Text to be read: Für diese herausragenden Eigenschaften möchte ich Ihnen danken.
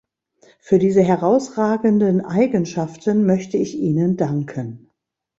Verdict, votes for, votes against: accepted, 2, 0